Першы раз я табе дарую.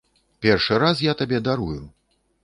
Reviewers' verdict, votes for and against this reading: accepted, 3, 0